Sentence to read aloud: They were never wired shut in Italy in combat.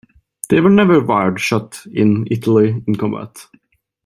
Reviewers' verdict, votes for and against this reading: accepted, 2, 0